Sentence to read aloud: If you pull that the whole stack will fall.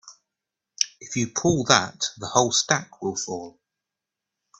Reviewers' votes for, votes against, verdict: 2, 0, accepted